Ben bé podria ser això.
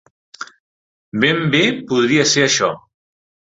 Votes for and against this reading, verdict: 3, 1, accepted